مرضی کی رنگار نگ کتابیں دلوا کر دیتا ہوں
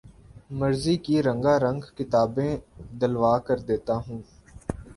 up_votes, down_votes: 1, 2